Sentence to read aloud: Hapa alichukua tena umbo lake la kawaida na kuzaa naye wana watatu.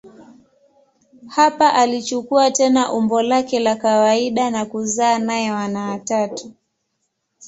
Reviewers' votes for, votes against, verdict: 2, 0, accepted